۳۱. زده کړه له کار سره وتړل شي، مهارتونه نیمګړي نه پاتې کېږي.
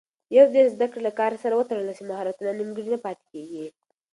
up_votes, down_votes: 0, 2